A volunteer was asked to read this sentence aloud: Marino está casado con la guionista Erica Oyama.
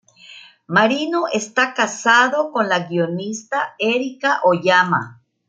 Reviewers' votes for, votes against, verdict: 2, 0, accepted